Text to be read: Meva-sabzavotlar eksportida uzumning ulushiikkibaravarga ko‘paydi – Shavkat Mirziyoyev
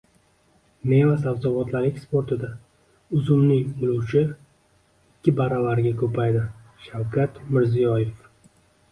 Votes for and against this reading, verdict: 2, 1, accepted